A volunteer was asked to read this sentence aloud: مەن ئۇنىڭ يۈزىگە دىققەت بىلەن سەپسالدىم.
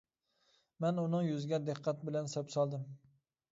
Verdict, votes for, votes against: accepted, 2, 0